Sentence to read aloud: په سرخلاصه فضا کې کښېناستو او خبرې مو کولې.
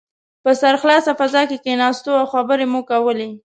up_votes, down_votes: 3, 0